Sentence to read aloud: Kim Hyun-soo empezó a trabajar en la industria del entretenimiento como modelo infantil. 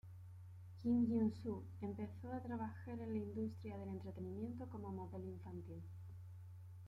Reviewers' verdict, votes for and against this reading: accepted, 2, 0